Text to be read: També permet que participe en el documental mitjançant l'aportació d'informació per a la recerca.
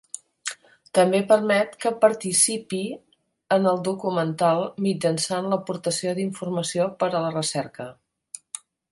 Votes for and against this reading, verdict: 0, 2, rejected